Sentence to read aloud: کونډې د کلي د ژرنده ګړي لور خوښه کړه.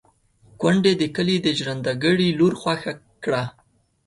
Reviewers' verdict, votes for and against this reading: accepted, 2, 0